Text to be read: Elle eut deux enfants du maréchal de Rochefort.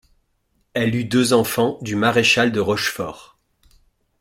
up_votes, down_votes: 2, 0